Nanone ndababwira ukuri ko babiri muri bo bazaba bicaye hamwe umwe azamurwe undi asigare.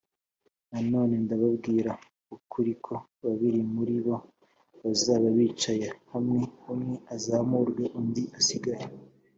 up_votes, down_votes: 3, 0